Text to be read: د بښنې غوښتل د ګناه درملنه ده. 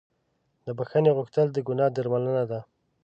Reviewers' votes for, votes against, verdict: 0, 2, rejected